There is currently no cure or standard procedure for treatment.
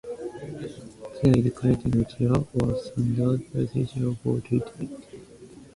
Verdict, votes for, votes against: rejected, 0, 2